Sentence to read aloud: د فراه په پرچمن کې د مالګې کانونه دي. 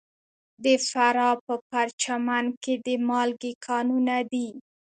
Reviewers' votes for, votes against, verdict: 2, 0, accepted